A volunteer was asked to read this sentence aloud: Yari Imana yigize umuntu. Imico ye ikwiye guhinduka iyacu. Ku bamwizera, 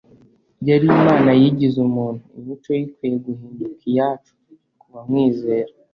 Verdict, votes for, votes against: rejected, 1, 2